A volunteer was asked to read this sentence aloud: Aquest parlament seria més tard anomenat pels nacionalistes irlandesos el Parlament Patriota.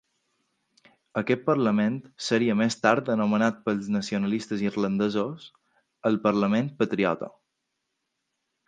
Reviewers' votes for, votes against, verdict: 2, 0, accepted